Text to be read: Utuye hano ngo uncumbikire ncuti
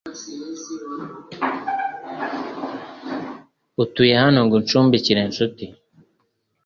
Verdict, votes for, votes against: accepted, 4, 1